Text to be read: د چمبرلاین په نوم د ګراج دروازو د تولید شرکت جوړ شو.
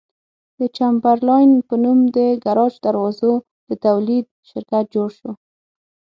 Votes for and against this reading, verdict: 9, 0, accepted